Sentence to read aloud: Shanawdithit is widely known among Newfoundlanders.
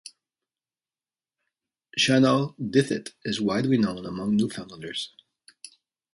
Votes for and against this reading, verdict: 2, 0, accepted